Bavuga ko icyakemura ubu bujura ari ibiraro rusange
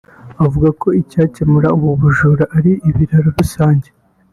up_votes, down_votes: 2, 1